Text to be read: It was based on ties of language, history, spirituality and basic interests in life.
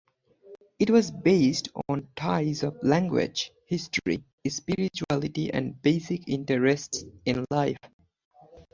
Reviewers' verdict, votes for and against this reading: accepted, 4, 2